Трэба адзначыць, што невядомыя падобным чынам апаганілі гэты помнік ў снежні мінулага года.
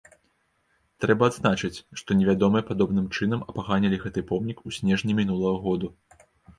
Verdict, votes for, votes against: rejected, 1, 2